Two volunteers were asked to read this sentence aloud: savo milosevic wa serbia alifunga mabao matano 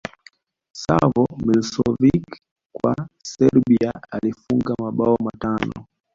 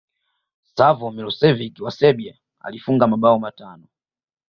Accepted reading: second